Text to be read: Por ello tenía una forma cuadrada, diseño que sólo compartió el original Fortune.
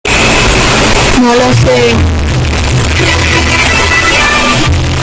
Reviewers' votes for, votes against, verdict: 0, 2, rejected